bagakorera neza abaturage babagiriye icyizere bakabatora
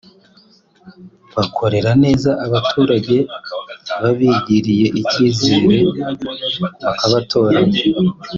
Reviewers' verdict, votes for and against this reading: rejected, 0, 2